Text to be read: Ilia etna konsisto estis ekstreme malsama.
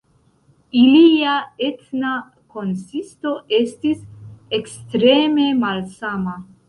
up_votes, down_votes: 1, 2